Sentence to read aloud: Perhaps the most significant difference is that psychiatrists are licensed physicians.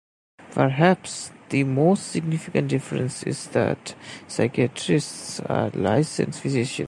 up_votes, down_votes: 1, 2